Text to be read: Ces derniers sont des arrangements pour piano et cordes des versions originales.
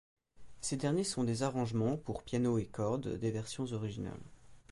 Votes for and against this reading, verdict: 2, 0, accepted